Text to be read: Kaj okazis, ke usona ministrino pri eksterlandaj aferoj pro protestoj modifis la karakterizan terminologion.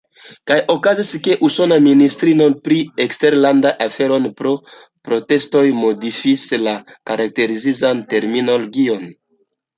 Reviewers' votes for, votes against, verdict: 2, 1, accepted